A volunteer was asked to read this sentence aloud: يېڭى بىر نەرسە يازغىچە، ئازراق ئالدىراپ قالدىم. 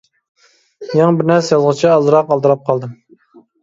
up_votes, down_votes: 0, 2